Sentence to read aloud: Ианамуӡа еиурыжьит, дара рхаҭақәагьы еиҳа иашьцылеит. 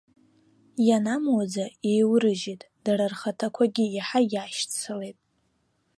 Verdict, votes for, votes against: rejected, 0, 2